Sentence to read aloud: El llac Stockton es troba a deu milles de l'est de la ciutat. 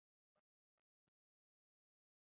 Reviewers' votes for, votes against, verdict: 0, 2, rejected